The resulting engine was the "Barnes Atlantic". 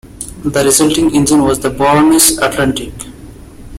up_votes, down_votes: 2, 1